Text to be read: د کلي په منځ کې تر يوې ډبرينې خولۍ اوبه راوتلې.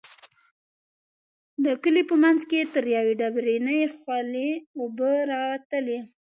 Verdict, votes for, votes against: rejected, 1, 2